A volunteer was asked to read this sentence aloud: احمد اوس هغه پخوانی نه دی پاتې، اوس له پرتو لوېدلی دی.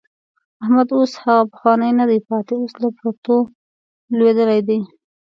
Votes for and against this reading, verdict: 2, 0, accepted